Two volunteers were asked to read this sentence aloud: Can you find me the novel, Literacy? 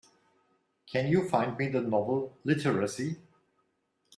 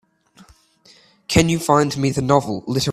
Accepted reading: first